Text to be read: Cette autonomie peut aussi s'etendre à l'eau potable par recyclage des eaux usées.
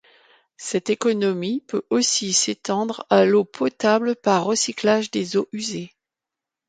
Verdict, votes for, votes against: rejected, 1, 2